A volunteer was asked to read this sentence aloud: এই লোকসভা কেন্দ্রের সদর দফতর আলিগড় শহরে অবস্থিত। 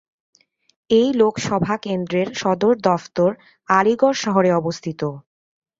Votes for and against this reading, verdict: 2, 0, accepted